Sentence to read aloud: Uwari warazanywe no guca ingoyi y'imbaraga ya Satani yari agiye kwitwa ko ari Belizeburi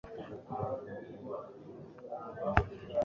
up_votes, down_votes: 0, 2